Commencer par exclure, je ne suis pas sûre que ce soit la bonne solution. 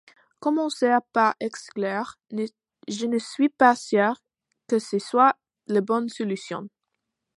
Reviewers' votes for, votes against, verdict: 1, 2, rejected